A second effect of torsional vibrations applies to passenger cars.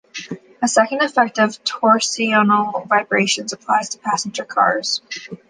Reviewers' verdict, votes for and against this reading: accepted, 2, 0